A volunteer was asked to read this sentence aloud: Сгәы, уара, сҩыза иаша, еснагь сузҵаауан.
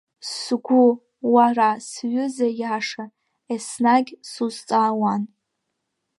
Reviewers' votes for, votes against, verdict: 3, 0, accepted